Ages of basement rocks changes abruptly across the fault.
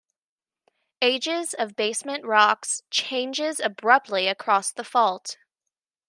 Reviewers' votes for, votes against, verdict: 2, 0, accepted